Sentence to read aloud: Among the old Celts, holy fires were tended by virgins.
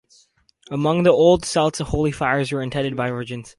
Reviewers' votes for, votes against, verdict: 2, 2, rejected